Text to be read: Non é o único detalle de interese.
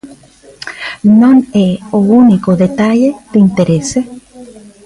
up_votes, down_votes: 3, 0